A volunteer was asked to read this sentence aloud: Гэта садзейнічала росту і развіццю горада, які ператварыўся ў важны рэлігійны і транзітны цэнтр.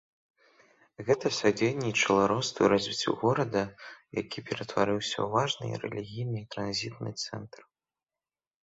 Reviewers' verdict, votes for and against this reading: rejected, 1, 2